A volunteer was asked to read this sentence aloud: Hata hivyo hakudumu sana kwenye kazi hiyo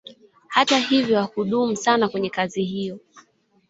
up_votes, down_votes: 0, 2